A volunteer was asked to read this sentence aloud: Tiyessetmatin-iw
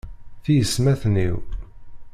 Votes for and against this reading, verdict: 1, 2, rejected